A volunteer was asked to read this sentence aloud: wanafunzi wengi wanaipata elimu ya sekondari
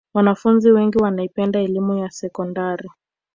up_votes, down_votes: 1, 2